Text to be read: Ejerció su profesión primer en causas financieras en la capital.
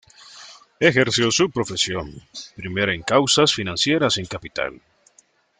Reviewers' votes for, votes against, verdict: 0, 2, rejected